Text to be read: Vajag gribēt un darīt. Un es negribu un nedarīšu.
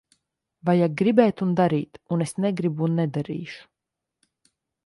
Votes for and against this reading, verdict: 2, 0, accepted